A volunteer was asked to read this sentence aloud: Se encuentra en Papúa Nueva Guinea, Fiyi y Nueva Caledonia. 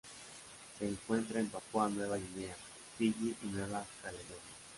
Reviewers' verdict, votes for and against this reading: rejected, 1, 3